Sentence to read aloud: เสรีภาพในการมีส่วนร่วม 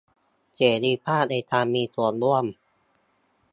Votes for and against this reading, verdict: 2, 0, accepted